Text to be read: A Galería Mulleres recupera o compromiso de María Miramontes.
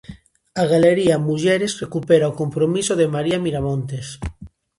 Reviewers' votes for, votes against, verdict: 2, 0, accepted